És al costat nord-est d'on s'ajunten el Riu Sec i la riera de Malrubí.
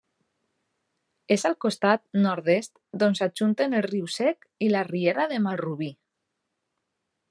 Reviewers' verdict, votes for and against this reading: accepted, 2, 1